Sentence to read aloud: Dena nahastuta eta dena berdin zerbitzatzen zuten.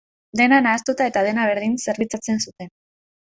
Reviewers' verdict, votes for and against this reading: accepted, 2, 0